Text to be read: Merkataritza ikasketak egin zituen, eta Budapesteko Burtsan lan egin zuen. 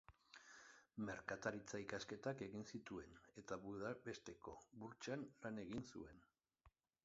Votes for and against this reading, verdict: 2, 1, accepted